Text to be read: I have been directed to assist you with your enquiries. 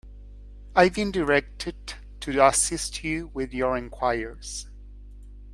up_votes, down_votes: 0, 2